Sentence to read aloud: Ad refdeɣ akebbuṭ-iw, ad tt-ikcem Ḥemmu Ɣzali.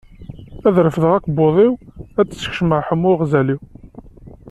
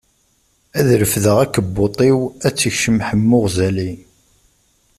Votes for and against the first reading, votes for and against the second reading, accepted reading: 1, 2, 2, 0, second